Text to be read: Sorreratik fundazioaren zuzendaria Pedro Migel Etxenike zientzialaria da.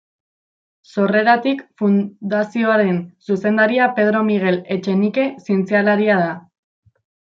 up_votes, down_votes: 1, 2